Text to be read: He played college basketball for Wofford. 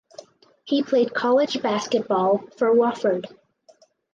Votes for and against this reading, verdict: 4, 0, accepted